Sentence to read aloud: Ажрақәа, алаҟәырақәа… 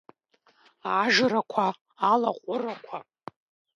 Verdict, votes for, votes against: accepted, 2, 0